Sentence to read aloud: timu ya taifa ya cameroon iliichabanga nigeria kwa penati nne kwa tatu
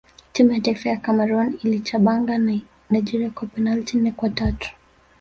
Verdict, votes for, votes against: rejected, 0, 2